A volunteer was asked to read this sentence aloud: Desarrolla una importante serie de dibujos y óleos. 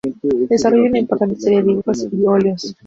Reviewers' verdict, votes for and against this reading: rejected, 0, 2